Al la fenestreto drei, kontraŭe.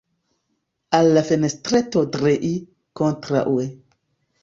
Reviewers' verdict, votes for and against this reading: accepted, 2, 0